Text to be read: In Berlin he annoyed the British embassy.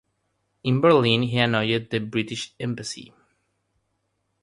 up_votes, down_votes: 3, 3